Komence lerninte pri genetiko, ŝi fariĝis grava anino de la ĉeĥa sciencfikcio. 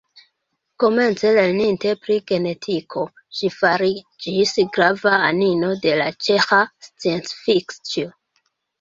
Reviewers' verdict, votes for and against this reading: rejected, 0, 2